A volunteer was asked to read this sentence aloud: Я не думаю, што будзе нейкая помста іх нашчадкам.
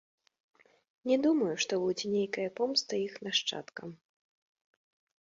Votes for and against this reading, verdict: 0, 2, rejected